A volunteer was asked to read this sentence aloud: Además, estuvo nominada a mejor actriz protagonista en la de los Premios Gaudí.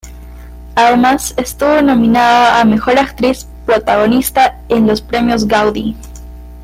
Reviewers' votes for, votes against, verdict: 1, 2, rejected